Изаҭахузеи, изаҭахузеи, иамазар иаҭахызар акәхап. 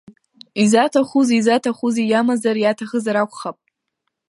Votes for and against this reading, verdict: 0, 2, rejected